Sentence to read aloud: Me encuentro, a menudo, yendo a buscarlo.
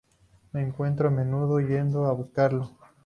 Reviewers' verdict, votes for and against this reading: accepted, 4, 0